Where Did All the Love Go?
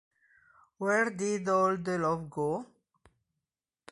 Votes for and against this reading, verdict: 2, 0, accepted